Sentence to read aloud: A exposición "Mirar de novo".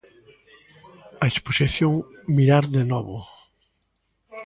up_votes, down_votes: 2, 0